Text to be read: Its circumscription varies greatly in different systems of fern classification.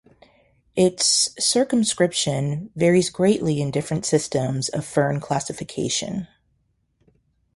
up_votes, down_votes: 4, 0